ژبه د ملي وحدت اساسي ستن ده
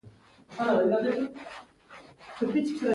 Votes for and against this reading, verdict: 0, 2, rejected